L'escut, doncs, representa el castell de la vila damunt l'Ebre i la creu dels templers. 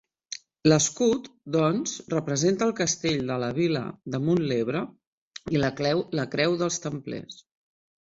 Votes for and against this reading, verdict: 0, 2, rejected